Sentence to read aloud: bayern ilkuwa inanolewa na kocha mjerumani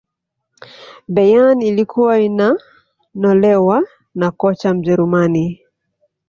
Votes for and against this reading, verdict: 2, 1, accepted